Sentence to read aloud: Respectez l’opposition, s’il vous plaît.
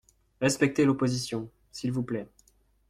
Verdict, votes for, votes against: accepted, 2, 0